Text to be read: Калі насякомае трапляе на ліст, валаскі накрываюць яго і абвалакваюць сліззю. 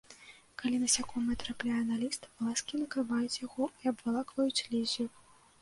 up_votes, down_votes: 1, 2